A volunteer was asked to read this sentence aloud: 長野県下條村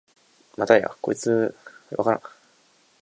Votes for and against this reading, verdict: 0, 2, rejected